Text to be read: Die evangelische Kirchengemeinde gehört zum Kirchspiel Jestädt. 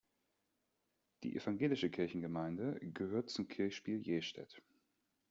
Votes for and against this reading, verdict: 2, 0, accepted